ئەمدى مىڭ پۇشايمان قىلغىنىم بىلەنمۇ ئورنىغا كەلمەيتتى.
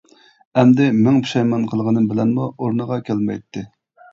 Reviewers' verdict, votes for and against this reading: accepted, 2, 0